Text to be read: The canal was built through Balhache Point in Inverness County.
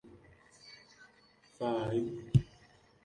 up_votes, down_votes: 0, 2